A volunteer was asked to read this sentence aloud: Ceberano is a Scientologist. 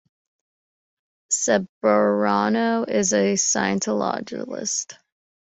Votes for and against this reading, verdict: 0, 2, rejected